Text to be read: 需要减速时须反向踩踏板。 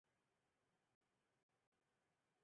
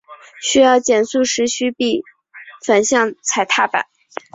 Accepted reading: second